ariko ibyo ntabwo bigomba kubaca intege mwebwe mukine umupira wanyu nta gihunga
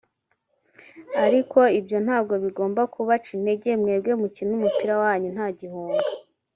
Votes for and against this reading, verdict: 1, 2, rejected